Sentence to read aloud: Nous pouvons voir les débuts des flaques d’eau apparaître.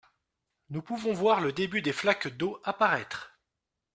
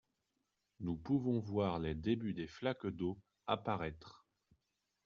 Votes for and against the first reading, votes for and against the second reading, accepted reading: 0, 2, 2, 0, second